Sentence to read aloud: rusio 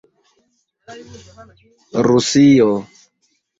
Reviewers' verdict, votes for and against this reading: accepted, 2, 0